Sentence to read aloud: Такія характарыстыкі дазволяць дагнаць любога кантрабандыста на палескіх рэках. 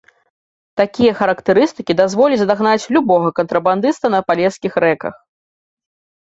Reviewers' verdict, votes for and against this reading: accepted, 2, 0